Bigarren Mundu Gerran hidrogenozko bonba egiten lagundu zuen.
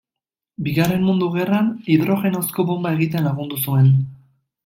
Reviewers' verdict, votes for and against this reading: rejected, 1, 2